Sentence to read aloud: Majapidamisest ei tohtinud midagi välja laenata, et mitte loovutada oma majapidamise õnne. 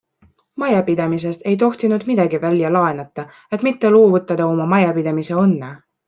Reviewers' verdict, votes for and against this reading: accepted, 2, 0